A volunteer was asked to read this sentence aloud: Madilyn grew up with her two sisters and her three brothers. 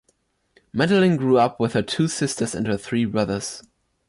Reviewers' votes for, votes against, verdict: 2, 0, accepted